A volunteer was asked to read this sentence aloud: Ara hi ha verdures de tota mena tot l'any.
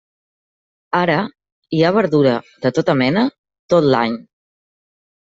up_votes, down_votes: 0, 2